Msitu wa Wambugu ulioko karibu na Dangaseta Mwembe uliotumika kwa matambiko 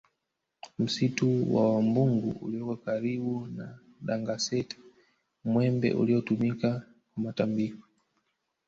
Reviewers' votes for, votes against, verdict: 1, 2, rejected